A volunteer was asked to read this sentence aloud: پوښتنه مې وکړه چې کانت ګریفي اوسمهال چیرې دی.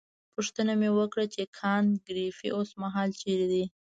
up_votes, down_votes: 2, 0